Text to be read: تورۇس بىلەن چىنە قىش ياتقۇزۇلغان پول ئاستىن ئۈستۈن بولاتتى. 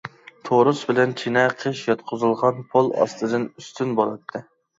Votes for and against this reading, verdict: 0, 2, rejected